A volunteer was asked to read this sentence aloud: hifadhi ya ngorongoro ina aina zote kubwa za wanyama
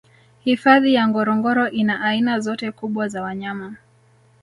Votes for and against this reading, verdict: 1, 2, rejected